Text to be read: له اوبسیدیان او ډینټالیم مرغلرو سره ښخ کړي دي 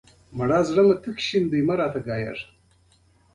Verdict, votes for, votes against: rejected, 0, 2